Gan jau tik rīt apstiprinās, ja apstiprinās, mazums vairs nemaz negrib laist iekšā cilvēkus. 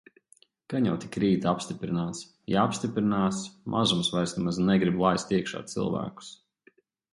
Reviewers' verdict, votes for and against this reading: accepted, 2, 0